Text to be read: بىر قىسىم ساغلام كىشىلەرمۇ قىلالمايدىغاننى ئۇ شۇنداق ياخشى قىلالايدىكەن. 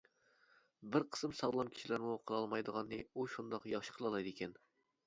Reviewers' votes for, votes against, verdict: 2, 0, accepted